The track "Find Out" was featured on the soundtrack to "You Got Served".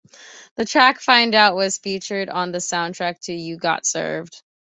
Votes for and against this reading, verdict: 2, 0, accepted